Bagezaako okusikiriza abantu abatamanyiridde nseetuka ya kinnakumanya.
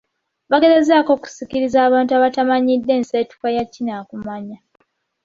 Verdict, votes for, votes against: accepted, 2, 1